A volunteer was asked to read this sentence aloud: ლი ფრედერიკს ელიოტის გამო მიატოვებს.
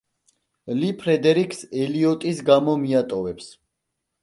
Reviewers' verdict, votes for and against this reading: accepted, 2, 0